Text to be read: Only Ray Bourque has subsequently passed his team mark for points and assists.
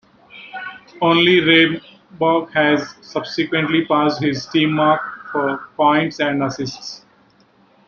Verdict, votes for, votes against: accepted, 2, 1